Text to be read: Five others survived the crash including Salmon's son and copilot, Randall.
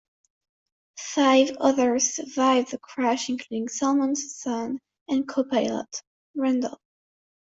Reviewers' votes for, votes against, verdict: 2, 0, accepted